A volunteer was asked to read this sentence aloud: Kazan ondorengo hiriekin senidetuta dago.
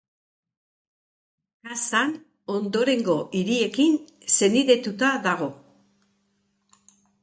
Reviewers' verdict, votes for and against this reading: accepted, 3, 0